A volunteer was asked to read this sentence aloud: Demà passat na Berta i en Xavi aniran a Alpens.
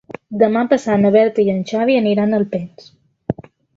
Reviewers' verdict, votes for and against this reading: accepted, 2, 0